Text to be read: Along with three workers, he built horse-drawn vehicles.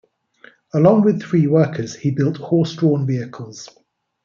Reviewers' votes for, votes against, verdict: 2, 0, accepted